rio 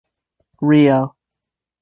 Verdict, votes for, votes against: rejected, 1, 2